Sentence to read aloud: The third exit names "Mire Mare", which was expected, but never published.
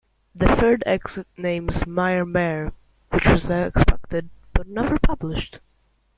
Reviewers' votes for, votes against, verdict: 1, 2, rejected